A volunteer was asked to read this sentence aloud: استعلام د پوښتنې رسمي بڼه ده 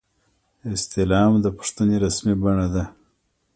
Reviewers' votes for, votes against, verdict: 2, 1, accepted